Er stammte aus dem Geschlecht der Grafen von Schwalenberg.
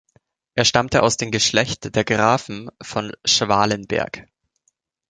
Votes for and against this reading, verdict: 2, 0, accepted